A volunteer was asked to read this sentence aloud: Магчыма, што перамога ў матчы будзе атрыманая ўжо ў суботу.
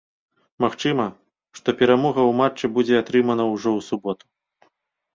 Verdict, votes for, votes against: rejected, 1, 2